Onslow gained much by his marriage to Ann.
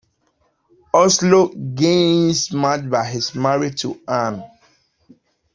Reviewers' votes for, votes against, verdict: 0, 2, rejected